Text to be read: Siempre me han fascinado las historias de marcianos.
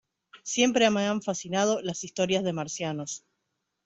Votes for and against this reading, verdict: 2, 0, accepted